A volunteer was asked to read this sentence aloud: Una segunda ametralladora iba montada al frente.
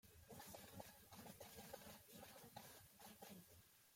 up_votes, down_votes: 0, 2